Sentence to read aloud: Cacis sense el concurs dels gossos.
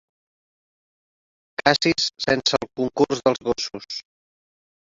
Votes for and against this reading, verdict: 4, 3, accepted